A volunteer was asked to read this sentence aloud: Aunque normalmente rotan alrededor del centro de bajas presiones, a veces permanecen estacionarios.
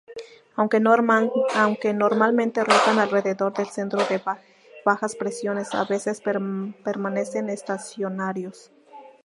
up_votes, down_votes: 0, 2